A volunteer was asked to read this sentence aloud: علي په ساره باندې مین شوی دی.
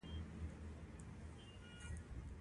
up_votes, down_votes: 0, 2